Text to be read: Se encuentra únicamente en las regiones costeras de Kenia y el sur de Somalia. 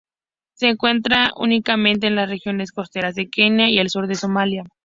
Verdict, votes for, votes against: accepted, 2, 0